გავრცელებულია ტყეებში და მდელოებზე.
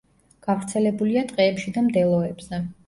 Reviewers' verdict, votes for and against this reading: accepted, 2, 0